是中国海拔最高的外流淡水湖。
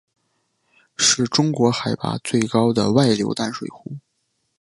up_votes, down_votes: 2, 0